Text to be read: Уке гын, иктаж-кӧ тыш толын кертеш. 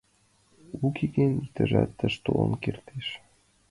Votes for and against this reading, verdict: 0, 2, rejected